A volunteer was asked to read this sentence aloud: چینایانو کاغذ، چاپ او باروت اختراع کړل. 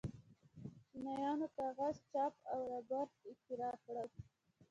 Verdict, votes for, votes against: rejected, 1, 2